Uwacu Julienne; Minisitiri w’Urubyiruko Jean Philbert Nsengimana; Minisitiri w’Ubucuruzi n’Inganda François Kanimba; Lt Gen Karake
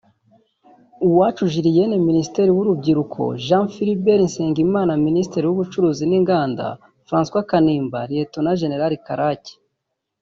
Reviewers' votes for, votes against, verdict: 0, 2, rejected